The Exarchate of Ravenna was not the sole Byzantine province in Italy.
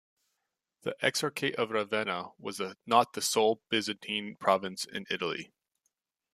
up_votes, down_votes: 1, 2